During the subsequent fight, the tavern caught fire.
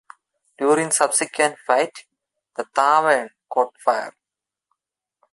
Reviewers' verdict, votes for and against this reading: rejected, 1, 2